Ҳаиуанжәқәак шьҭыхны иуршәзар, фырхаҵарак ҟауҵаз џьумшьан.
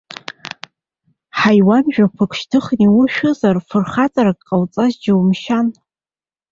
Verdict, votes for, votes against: rejected, 0, 2